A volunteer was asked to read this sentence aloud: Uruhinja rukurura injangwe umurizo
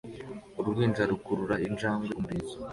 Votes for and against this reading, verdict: 2, 0, accepted